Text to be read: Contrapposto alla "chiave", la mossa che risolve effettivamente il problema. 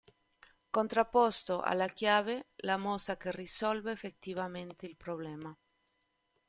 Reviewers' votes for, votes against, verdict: 2, 1, accepted